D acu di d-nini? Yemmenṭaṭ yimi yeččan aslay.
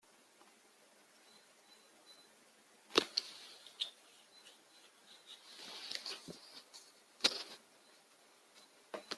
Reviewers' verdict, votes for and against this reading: rejected, 1, 2